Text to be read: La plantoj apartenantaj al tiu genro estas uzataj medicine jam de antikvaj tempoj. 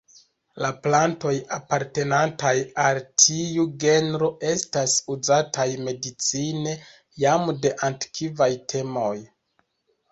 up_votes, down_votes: 0, 2